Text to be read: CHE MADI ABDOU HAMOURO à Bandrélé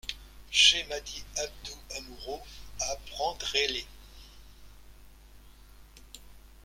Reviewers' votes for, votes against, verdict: 0, 2, rejected